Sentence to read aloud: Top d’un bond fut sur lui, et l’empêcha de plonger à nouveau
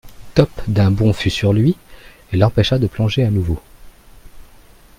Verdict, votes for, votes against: accepted, 2, 0